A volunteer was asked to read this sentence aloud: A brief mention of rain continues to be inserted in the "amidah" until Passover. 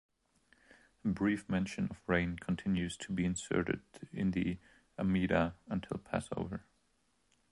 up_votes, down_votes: 2, 0